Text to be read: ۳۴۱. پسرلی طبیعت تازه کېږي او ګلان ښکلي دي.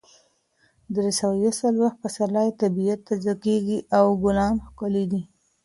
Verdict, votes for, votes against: rejected, 0, 2